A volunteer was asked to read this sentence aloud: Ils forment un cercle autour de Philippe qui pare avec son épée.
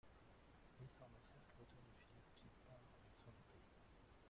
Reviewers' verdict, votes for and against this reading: rejected, 0, 2